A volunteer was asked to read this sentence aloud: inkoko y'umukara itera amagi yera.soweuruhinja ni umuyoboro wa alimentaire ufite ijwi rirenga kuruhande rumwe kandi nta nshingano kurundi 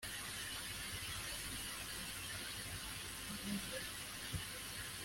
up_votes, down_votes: 0, 2